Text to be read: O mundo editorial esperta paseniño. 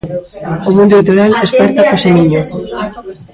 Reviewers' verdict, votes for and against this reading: rejected, 1, 2